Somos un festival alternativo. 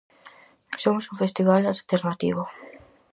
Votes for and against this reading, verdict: 4, 0, accepted